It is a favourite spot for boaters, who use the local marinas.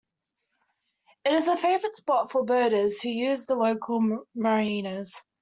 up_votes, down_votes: 1, 2